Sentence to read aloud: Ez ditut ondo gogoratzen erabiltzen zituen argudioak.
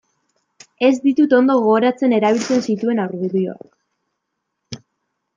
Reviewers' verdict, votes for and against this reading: rejected, 0, 2